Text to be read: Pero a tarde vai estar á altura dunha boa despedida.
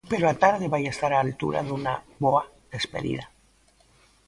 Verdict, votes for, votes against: rejected, 0, 2